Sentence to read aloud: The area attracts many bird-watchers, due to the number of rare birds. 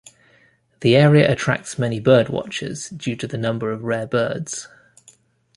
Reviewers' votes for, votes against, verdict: 2, 0, accepted